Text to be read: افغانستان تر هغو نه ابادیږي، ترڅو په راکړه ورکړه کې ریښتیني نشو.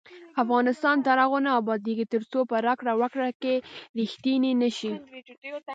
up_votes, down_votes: 2, 0